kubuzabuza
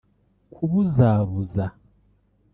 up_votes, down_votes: 1, 2